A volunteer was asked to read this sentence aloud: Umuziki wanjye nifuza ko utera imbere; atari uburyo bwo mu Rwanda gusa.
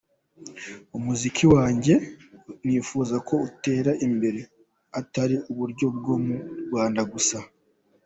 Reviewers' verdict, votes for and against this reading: accepted, 2, 0